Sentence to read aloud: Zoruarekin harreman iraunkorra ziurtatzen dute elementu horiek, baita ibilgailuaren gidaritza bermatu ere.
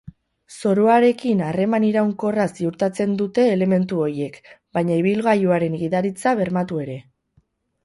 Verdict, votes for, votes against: rejected, 0, 8